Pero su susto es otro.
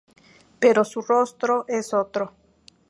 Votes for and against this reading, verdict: 0, 2, rejected